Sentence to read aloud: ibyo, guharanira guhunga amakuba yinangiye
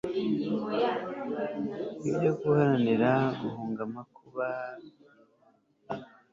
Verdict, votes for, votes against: rejected, 1, 2